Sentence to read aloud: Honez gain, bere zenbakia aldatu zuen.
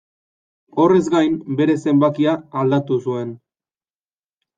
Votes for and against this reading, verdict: 1, 2, rejected